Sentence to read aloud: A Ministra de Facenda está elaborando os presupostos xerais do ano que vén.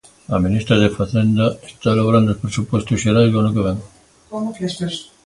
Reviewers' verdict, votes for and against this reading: accepted, 2, 0